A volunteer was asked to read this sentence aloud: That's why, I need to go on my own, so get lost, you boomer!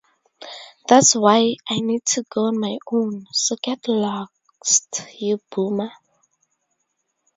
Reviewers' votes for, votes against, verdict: 2, 2, rejected